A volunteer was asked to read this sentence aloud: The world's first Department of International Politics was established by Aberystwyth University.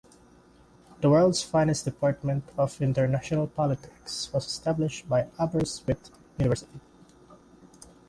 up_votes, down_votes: 0, 2